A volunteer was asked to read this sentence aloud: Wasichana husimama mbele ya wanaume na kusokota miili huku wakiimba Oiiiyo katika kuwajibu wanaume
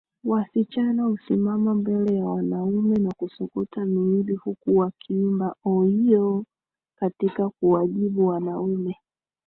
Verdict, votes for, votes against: rejected, 1, 2